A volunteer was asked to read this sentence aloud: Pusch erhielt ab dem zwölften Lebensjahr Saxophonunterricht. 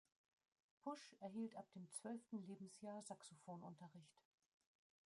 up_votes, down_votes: 1, 2